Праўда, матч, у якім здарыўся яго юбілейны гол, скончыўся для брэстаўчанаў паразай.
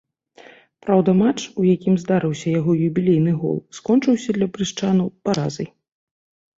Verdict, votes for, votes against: rejected, 1, 2